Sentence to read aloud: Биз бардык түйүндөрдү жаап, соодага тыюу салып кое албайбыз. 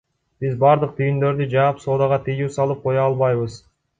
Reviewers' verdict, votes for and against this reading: accepted, 2, 0